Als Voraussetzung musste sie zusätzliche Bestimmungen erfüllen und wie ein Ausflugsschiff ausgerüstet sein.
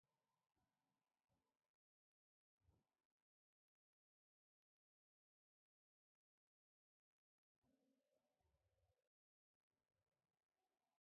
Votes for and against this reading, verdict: 0, 2, rejected